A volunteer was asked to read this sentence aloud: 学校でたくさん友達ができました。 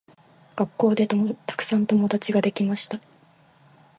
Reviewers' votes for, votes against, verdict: 2, 0, accepted